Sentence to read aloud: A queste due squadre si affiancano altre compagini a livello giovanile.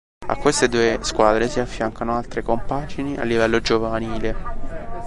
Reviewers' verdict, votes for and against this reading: rejected, 1, 2